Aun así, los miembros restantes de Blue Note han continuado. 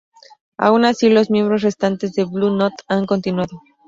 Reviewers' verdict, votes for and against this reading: accepted, 2, 0